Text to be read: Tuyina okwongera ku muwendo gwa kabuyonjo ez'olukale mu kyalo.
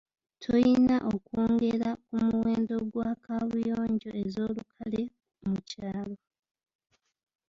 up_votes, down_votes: 0, 2